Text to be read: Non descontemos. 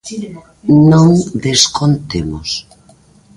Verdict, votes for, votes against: rejected, 1, 2